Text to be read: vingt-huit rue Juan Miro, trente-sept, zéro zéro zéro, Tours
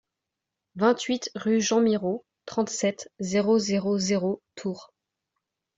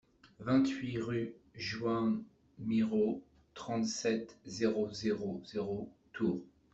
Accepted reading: first